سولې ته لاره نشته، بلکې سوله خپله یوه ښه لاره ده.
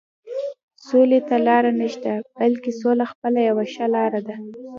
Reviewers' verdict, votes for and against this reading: accepted, 2, 0